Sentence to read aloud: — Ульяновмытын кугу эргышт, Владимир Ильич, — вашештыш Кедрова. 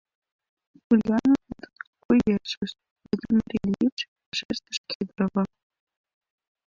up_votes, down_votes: 0, 2